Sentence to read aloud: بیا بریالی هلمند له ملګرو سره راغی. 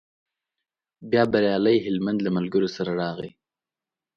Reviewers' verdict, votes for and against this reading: accepted, 2, 0